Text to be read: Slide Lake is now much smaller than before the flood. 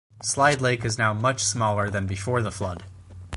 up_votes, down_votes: 4, 0